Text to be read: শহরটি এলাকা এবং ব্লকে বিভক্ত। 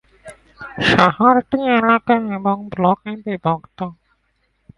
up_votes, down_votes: 0, 2